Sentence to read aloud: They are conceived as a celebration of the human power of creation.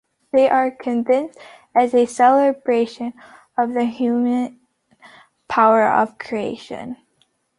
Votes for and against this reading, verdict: 0, 2, rejected